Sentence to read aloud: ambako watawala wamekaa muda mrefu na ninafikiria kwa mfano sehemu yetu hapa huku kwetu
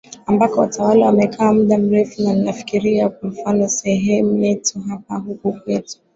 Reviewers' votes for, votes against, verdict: 2, 1, accepted